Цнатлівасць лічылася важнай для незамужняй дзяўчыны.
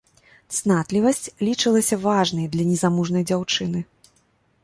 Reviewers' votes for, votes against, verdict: 1, 2, rejected